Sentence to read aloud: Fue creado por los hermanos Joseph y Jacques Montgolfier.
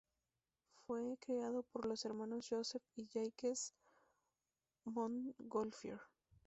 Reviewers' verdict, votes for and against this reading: rejected, 0, 2